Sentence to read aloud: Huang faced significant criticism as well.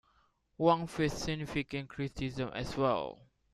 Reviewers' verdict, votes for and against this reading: accepted, 2, 1